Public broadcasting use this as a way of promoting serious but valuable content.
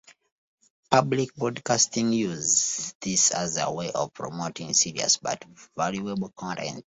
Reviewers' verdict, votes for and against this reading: rejected, 0, 2